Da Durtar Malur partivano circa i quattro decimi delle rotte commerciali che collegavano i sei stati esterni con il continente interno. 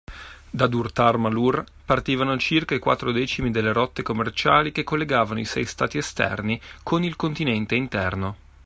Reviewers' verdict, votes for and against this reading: accepted, 2, 0